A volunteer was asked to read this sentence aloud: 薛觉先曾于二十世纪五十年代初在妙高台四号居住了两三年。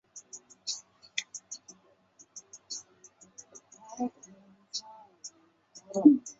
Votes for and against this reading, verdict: 0, 2, rejected